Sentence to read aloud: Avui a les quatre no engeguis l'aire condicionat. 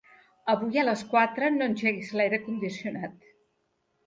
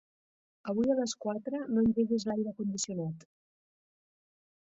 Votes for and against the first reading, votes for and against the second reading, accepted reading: 3, 0, 0, 2, first